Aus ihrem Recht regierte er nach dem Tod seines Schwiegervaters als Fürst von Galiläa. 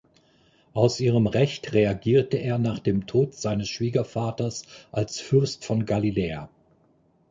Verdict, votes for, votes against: rejected, 1, 2